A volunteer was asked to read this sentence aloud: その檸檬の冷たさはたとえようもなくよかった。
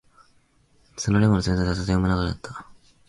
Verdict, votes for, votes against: rejected, 0, 2